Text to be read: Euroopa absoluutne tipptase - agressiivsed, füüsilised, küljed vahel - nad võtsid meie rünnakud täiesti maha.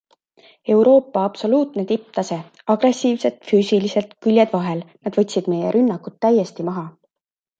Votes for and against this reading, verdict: 2, 0, accepted